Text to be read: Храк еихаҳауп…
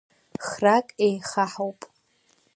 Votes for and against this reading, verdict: 2, 1, accepted